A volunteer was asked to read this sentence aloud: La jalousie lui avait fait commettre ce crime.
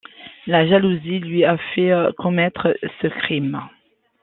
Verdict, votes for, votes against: accepted, 2, 1